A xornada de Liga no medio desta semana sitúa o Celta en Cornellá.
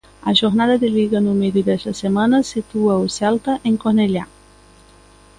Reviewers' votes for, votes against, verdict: 2, 1, accepted